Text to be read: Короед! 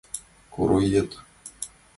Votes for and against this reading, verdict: 2, 0, accepted